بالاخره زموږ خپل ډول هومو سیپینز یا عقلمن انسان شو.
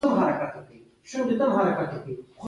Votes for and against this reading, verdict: 1, 2, rejected